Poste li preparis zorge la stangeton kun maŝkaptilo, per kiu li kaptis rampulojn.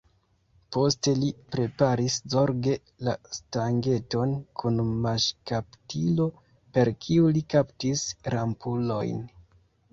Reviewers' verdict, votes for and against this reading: accepted, 2, 1